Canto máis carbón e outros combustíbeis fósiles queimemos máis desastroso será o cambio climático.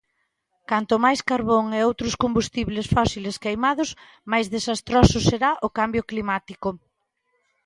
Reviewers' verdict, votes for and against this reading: rejected, 0, 2